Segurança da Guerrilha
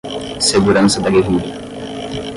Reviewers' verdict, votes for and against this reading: rejected, 0, 5